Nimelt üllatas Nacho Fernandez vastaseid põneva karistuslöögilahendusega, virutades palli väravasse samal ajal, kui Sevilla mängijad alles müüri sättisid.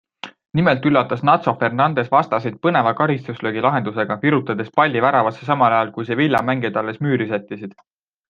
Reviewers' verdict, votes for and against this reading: accepted, 2, 0